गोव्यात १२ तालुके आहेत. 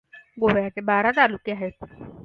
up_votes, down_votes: 0, 2